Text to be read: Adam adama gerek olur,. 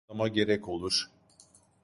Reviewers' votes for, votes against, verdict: 0, 2, rejected